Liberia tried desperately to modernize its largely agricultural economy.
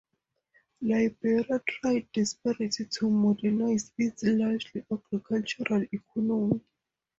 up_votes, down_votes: 0, 4